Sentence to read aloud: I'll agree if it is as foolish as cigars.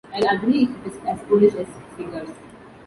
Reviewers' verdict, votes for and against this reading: rejected, 0, 2